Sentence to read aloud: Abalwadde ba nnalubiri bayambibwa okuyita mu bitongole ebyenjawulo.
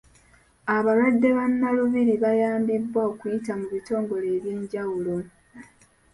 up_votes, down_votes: 1, 2